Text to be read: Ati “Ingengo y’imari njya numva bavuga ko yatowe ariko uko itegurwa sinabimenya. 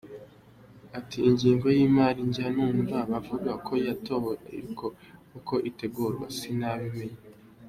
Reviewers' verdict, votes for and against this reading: accepted, 2, 0